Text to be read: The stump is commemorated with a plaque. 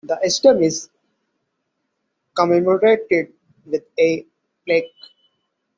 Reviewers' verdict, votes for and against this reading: accepted, 2, 1